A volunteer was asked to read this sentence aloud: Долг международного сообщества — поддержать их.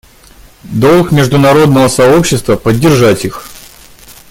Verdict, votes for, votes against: accepted, 2, 1